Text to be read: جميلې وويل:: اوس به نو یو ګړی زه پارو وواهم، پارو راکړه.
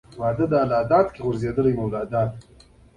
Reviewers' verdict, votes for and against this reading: rejected, 0, 2